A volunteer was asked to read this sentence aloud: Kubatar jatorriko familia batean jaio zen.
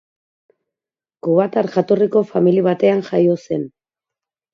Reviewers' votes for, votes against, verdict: 0, 2, rejected